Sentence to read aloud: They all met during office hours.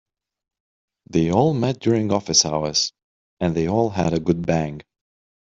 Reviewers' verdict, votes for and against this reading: rejected, 1, 2